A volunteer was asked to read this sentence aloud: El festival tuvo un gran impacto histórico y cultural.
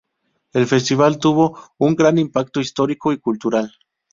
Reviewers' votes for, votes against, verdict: 2, 2, rejected